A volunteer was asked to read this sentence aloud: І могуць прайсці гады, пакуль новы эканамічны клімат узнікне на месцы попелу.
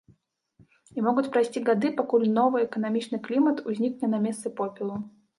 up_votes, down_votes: 1, 2